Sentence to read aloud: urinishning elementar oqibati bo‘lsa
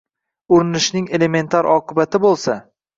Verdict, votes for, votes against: rejected, 1, 2